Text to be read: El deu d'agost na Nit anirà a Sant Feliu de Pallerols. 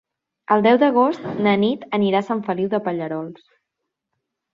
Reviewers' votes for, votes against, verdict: 2, 0, accepted